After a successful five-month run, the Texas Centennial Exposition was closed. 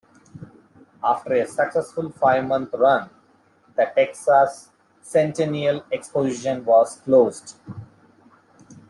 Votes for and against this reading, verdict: 1, 2, rejected